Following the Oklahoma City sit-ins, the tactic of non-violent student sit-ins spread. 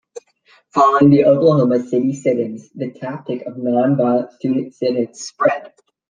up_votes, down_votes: 2, 0